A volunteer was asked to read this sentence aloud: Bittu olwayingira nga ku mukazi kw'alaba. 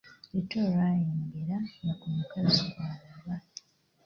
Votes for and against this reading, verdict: 2, 1, accepted